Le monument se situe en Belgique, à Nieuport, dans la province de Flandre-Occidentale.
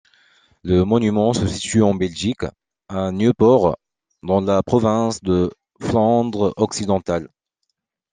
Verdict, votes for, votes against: rejected, 0, 2